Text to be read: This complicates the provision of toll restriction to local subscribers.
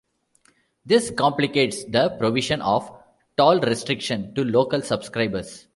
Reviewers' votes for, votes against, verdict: 2, 0, accepted